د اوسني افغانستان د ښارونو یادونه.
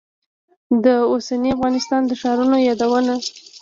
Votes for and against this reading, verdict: 2, 0, accepted